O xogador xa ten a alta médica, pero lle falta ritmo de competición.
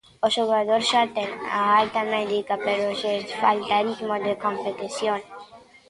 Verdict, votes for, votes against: rejected, 0, 2